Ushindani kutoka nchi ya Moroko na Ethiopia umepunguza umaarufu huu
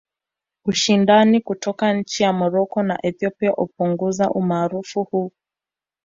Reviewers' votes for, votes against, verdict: 1, 2, rejected